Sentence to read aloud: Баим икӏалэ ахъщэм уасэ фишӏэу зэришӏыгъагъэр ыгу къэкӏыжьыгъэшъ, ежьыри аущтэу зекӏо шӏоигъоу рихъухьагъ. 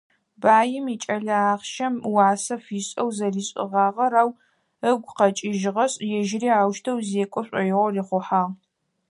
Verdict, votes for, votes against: rejected, 2, 4